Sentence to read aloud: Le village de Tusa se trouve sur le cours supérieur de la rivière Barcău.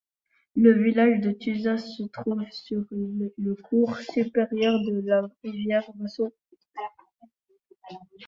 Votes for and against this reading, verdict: 1, 2, rejected